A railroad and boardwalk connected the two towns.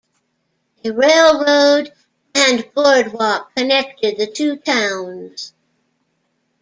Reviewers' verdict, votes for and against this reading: accepted, 2, 0